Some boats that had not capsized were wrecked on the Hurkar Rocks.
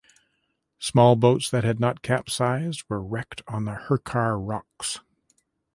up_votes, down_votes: 0, 2